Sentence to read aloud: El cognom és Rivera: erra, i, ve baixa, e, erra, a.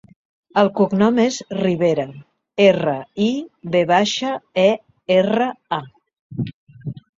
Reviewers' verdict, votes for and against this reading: accepted, 2, 0